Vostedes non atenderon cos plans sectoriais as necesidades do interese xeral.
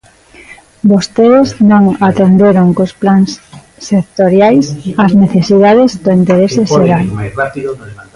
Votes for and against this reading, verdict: 0, 2, rejected